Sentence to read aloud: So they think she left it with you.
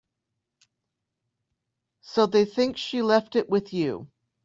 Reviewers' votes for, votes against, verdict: 3, 0, accepted